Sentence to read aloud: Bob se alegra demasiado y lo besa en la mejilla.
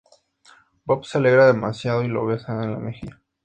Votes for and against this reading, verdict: 2, 0, accepted